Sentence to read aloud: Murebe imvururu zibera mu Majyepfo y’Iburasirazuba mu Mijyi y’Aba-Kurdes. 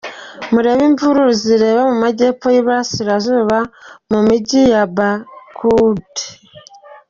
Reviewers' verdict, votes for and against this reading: rejected, 1, 2